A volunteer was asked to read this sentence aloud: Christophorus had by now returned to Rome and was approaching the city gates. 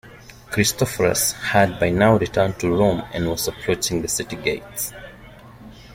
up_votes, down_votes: 0, 2